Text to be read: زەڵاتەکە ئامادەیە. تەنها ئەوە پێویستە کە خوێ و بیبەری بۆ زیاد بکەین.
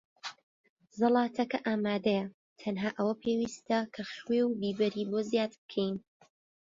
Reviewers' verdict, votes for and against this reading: accepted, 3, 0